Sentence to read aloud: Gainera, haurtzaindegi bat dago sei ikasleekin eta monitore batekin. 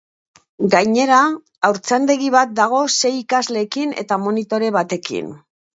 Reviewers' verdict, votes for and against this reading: accepted, 2, 0